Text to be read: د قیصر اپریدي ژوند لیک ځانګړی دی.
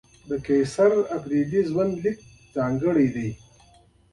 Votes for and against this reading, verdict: 2, 0, accepted